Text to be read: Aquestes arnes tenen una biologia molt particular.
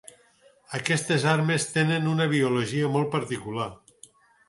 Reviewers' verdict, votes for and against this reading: rejected, 0, 4